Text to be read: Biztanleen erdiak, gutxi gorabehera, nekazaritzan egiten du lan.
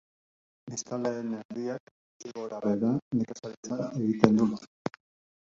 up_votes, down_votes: 1, 2